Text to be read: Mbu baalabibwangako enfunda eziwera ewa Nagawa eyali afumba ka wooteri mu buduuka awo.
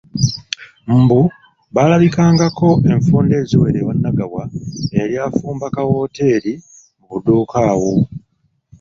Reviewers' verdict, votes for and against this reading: rejected, 1, 2